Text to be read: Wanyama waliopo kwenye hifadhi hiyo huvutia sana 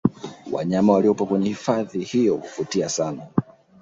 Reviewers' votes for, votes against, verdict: 2, 0, accepted